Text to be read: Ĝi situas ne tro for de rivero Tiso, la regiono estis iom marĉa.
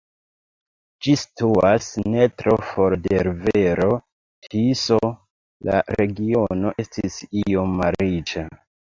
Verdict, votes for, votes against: rejected, 1, 2